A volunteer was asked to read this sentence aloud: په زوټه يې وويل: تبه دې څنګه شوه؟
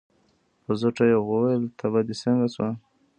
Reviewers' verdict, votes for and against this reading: rejected, 0, 2